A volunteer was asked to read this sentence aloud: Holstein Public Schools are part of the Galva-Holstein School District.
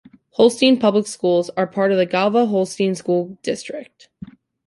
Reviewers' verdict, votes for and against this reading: accepted, 2, 1